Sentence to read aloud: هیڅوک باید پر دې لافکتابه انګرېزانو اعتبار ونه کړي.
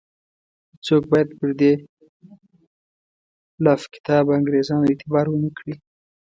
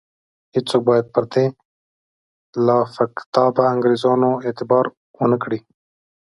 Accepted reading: second